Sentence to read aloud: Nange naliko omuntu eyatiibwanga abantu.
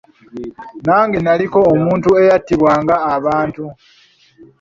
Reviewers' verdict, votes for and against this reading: rejected, 1, 2